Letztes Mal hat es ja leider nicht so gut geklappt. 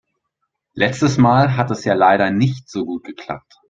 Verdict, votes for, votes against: accepted, 6, 0